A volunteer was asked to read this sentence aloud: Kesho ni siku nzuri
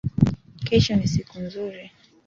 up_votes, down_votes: 2, 0